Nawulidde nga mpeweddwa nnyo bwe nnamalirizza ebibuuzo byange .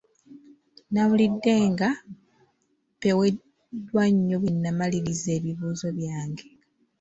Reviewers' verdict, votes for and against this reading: rejected, 0, 2